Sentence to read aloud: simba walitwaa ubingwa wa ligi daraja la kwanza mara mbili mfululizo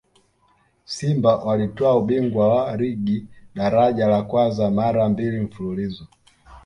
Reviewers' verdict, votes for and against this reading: accepted, 2, 0